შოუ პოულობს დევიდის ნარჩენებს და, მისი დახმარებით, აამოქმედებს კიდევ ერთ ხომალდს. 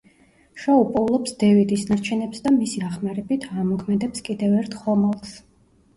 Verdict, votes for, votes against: rejected, 1, 2